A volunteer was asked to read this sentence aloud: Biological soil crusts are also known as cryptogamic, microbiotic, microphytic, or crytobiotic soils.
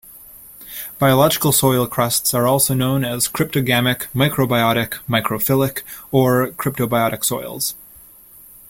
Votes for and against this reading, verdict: 0, 2, rejected